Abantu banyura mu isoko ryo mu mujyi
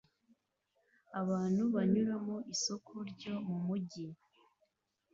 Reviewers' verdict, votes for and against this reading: accepted, 2, 0